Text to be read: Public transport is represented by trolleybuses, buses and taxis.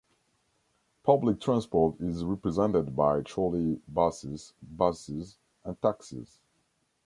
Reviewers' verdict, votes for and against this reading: rejected, 0, 2